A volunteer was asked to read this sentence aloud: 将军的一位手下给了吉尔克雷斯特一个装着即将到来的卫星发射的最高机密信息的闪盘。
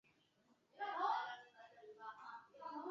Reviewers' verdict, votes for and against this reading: rejected, 1, 2